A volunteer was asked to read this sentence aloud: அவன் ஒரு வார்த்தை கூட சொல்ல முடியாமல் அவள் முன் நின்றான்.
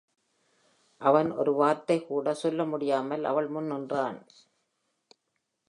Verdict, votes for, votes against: accepted, 2, 0